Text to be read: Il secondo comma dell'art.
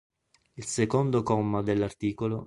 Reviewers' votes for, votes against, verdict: 1, 2, rejected